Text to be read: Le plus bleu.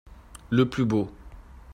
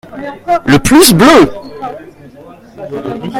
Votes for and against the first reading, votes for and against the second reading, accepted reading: 0, 2, 2, 1, second